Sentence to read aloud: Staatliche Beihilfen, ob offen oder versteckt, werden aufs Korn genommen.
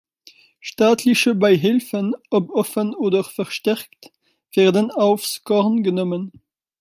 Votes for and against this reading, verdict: 2, 1, accepted